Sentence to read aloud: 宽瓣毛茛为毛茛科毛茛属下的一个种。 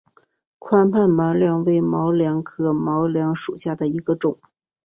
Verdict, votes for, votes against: accepted, 3, 1